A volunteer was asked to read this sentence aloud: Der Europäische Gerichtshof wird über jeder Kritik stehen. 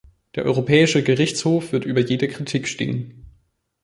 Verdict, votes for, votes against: rejected, 2, 3